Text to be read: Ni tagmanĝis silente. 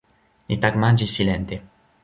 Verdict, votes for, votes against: rejected, 1, 2